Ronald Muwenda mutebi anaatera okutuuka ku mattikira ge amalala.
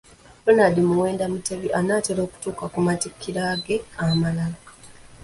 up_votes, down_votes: 1, 2